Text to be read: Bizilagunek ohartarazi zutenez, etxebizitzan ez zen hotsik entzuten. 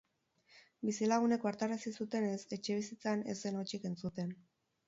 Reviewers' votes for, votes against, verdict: 6, 2, accepted